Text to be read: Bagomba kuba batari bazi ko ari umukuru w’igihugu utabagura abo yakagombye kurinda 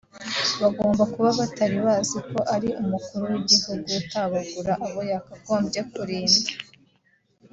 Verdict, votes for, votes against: accepted, 2, 0